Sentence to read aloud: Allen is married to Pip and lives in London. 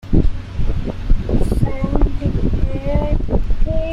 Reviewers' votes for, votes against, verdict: 0, 2, rejected